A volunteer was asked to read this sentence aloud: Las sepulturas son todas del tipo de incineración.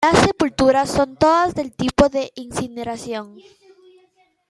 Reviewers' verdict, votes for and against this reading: accepted, 2, 0